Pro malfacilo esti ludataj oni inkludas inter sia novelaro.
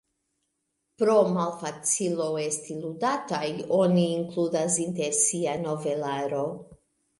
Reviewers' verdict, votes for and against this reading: accepted, 2, 0